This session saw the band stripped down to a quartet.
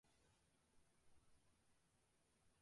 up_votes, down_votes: 0, 2